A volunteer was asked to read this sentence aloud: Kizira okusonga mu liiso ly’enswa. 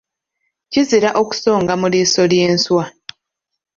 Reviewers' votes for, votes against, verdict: 2, 1, accepted